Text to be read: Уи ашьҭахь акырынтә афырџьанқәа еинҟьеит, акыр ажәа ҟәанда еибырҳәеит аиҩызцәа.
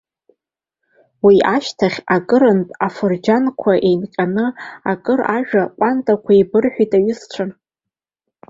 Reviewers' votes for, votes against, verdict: 2, 0, accepted